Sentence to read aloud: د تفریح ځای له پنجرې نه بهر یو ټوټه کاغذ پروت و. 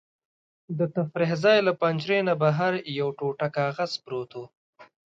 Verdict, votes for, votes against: accepted, 2, 0